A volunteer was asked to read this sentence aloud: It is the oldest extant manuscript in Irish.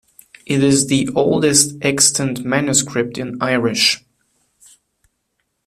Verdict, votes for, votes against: accepted, 2, 1